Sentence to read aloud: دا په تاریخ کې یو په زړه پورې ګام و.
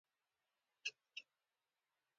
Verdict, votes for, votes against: rejected, 0, 2